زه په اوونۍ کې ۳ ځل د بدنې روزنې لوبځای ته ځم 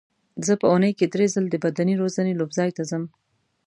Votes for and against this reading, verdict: 0, 2, rejected